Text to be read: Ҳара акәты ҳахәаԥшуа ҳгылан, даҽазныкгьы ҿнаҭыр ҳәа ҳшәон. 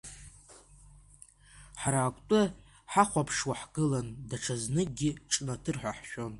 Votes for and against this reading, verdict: 2, 0, accepted